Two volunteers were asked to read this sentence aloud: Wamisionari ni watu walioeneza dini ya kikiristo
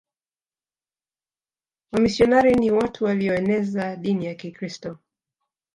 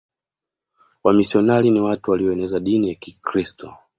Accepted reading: second